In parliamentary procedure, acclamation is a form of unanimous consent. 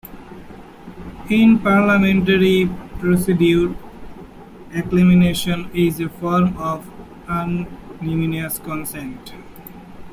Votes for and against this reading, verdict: 0, 2, rejected